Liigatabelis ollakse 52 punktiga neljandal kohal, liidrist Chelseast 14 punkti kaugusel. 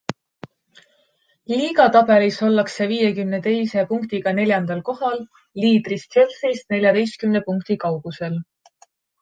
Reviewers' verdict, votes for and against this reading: rejected, 0, 2